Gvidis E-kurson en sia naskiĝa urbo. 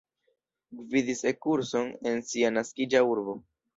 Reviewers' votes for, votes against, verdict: 2, 0, accepted